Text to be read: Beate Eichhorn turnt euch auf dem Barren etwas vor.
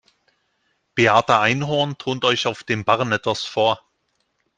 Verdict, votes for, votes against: rejected, 0, 2